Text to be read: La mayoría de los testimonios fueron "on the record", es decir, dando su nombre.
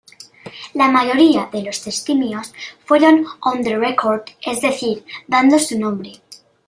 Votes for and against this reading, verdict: 1, 2, rejected